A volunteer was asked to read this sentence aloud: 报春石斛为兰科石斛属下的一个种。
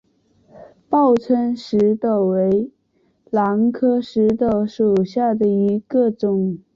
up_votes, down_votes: 0, 2